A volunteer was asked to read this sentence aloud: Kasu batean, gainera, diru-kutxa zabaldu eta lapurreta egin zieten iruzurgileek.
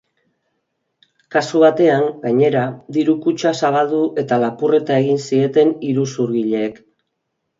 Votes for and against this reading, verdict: 2, 0, accepted